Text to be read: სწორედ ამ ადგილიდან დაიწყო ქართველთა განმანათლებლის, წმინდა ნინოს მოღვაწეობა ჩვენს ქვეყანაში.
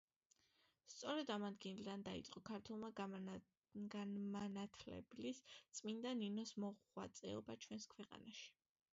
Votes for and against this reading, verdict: 0, 2, rejected